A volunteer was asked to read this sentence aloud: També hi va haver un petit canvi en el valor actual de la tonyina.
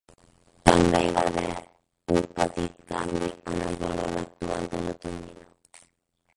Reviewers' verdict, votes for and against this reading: rejected, 0, 6